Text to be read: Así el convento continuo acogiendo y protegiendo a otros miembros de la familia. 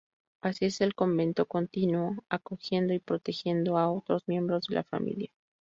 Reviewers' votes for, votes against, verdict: 0, 2, rejected